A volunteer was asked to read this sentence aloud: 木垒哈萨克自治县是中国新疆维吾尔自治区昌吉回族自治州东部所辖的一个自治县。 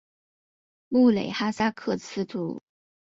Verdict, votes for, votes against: rejected, 0, 2